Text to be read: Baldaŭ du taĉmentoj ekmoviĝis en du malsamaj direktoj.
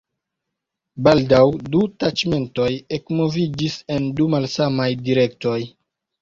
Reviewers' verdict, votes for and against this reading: accepted, 2, 0